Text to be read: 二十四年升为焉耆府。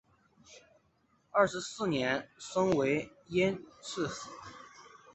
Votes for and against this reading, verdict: 2, 0, accepted